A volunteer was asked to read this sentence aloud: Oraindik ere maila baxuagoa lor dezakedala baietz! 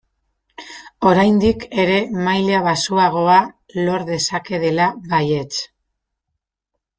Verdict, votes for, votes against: rejected, 0, 2